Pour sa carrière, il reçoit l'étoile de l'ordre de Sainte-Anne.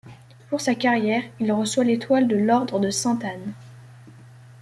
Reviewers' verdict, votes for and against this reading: accepted, 2, 0